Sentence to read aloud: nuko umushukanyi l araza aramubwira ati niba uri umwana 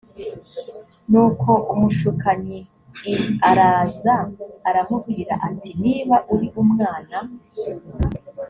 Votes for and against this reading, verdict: 2, 0, accepted